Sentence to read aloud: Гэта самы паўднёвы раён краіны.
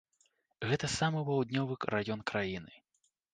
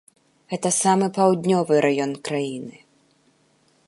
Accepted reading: second